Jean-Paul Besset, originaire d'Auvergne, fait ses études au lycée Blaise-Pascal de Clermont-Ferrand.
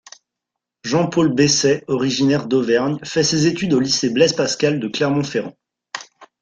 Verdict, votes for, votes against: accepted, 2, 0